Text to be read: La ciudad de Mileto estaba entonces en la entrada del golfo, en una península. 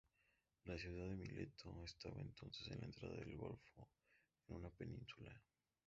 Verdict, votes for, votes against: rejected, 0, 2